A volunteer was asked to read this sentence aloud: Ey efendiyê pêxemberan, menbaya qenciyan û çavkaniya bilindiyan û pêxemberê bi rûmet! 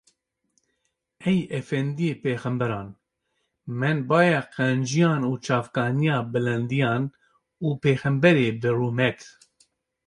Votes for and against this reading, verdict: 2, 0, accepted